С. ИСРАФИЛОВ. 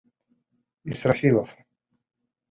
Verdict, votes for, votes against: rejected, 1, 2